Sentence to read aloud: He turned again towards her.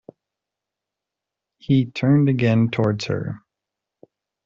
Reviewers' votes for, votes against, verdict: 2, 0, accepted